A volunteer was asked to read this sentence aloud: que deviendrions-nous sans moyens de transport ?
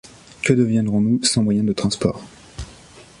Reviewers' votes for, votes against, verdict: 1, 2, rejected